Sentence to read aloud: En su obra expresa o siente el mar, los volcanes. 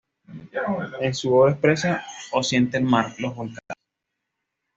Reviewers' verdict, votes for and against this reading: rejected, 1, 2